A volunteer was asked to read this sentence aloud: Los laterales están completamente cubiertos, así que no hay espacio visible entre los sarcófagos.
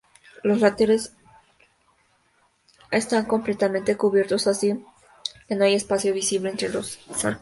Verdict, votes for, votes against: rejected, 0, 2